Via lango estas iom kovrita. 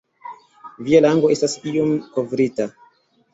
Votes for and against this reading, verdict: 2, 0, accepted